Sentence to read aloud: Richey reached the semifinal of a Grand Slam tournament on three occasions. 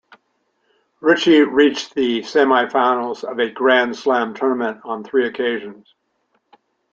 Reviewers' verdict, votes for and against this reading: rejected, 0, 2